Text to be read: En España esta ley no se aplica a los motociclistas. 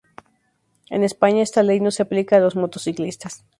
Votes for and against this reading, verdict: 2, 0, accepted